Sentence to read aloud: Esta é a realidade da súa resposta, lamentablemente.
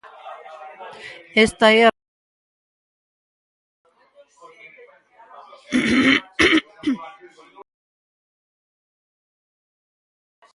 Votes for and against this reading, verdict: 0, 4, rejected